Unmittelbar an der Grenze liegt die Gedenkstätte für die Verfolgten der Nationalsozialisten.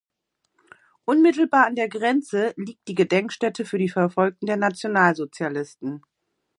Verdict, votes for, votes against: accepted, 2, 0